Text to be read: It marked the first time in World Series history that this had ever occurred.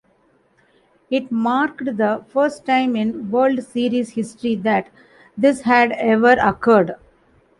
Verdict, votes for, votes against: accepted, 2, 0